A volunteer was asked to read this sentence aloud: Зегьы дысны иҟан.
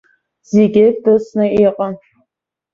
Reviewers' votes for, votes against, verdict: 2, 0, accepted